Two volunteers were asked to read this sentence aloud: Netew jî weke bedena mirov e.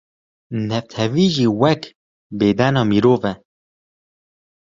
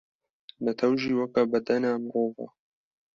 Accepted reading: second